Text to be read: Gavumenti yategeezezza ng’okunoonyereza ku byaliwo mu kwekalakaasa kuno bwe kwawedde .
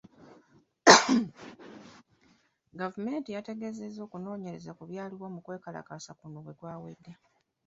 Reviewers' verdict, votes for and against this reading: accepted, 2, 0